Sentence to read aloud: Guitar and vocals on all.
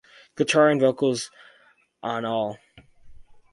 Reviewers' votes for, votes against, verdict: 4, 0, accepted